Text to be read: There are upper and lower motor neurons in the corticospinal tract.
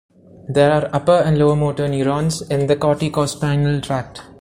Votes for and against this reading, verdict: 2, 0, accepted